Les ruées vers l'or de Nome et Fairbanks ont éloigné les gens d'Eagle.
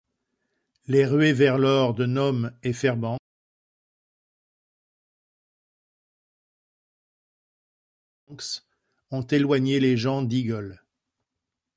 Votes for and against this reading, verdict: 0, 2, rejected